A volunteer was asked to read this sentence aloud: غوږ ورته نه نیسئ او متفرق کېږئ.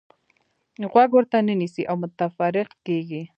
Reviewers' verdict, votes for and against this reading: rejected, 0, 2